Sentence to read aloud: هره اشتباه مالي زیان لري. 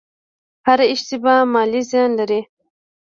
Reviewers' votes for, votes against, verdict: 3, 0, accepted